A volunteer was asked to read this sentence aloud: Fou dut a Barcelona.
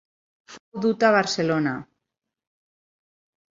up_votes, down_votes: 0, 4